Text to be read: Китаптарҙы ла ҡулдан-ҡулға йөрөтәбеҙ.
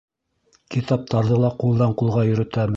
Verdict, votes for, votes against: rejected, 1, 2